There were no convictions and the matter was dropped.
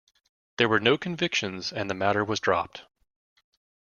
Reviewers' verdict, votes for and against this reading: accepted, 2, 0